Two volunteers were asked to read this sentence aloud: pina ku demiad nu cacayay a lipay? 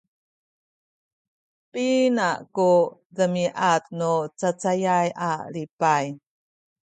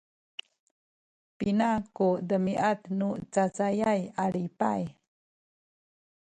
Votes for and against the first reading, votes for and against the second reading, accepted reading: 2, 0, 1, 2, first